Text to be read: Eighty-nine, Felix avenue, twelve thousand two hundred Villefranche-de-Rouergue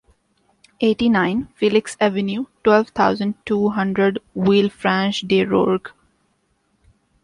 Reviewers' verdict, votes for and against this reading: accepted, 2, 0